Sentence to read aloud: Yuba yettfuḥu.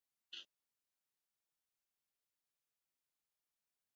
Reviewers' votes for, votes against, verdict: 0, 2, rejected